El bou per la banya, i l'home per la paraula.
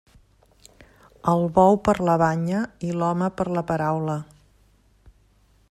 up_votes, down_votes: 3, 0